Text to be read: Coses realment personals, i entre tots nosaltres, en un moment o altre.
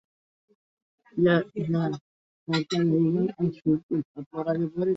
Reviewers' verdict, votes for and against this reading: rejected, 0, 2